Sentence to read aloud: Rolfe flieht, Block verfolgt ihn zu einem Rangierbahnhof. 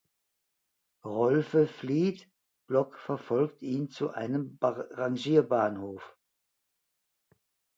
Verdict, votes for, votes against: rejected, 0, 2